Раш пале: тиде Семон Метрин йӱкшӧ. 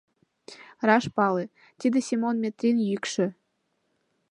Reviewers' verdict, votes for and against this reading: accepted, 2, 0